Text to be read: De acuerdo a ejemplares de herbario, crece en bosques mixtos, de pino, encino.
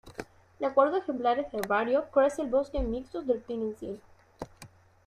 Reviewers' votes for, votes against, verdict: 1, 2, rejected